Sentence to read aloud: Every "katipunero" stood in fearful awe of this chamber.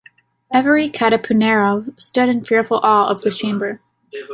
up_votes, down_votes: 2, 0